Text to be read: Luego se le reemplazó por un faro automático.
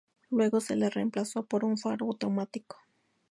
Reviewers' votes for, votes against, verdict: 2, 0, accepted